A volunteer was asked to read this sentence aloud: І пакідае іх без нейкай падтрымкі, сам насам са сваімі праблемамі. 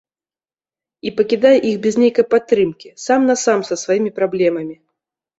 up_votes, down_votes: 1, 2